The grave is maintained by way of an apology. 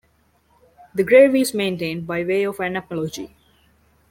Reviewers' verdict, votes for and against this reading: accepted, 2, 0